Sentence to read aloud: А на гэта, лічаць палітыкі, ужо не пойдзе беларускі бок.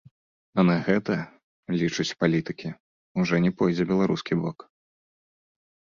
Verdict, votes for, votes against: accepted, 2, 0